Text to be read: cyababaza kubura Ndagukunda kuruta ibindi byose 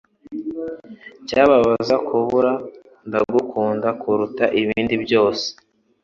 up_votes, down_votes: 3, 0